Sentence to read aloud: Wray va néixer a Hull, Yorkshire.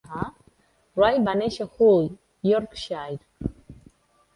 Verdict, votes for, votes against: rejected, 1, 2